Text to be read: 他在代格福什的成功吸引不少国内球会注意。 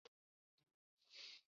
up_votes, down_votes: 0, 2